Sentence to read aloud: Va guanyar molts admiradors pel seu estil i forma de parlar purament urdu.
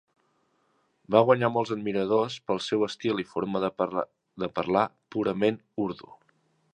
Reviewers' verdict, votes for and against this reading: rejected, 0, 2